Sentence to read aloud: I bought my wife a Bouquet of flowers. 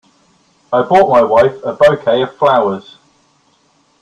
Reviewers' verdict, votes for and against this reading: accepted, 2, 0